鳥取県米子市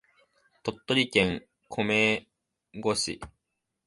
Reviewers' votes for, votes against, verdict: 3, 2, accepted